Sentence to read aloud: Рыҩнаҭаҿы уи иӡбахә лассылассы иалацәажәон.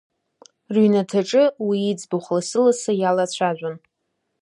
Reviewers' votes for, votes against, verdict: 2, 0, accepted